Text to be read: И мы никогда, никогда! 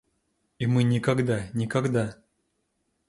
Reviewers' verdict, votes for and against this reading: accepted, 2, 0